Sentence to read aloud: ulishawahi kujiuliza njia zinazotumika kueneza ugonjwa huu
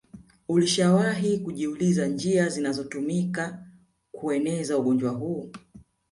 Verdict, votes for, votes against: accepted, 2, 0